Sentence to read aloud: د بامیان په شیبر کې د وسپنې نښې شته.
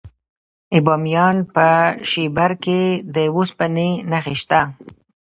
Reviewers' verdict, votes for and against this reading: rejected, 0, 2